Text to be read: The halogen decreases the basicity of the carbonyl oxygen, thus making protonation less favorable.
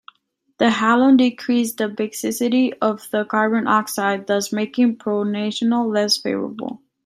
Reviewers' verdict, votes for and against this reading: rejected, 0, 2